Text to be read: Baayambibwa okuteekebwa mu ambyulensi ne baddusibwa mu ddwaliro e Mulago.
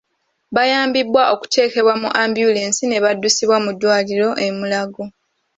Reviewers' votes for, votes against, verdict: 1, 2, rejected